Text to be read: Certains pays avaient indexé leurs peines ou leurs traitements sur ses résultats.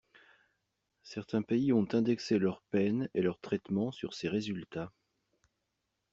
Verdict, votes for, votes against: rejected, 0, 2